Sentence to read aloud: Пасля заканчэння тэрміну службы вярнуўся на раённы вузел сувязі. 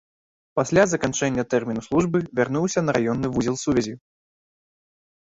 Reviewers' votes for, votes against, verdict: 2, 0, accepted